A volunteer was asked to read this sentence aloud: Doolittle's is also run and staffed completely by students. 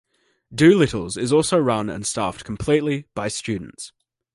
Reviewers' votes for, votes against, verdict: 1, 2, rejected